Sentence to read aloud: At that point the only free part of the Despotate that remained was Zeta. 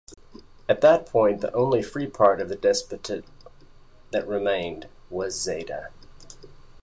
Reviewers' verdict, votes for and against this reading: accepted, 2, 0